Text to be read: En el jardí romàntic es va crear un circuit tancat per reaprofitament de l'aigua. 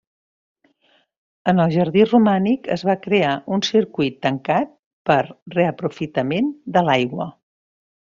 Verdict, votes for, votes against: rejected, 1, 2